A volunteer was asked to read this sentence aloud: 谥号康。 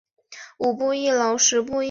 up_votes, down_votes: 0, 5